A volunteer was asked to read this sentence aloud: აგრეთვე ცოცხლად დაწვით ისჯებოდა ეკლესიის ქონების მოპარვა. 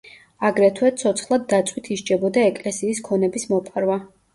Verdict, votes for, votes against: accepted, 2, 0